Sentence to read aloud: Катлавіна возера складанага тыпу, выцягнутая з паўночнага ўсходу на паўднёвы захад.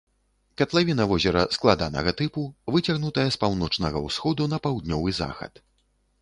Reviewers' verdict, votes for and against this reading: accepted, 2, 0